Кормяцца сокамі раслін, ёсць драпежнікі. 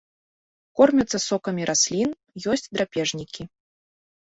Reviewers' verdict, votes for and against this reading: accepted, 2, 0